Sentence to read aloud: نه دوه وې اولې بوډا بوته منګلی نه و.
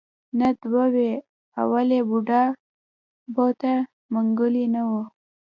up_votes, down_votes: 1, 2